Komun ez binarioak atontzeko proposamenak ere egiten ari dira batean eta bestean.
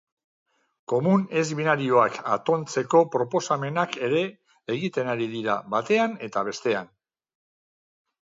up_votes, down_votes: 4, 0